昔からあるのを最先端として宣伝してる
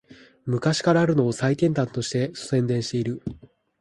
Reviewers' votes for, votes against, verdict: 4, 1, accepted